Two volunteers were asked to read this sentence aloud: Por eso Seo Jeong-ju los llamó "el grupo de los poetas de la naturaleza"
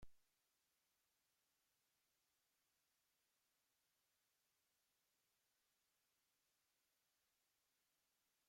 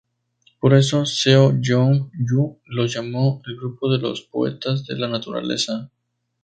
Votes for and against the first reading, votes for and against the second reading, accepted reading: 0, 2, 2, 0, second